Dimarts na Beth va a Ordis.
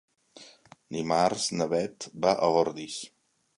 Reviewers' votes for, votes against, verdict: 2, 0, accepted